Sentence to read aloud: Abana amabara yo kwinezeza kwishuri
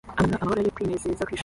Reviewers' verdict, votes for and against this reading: rejected, 0, 2